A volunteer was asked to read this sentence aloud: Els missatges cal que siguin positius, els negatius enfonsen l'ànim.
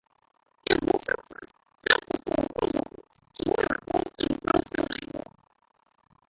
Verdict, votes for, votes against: rejected, 0, 2